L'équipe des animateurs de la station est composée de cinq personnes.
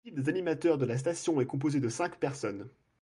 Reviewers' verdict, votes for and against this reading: rejected, 1, 2